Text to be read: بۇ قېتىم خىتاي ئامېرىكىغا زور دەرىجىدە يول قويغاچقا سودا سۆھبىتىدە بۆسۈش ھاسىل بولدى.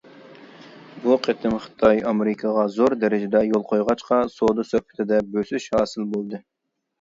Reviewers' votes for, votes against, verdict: 2, 0, accepted